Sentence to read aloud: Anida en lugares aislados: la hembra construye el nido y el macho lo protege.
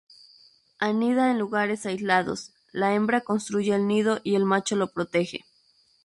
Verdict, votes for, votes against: rejected, 0, 2